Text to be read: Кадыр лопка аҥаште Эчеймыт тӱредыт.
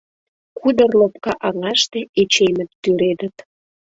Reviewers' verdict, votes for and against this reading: rejected, 0, 2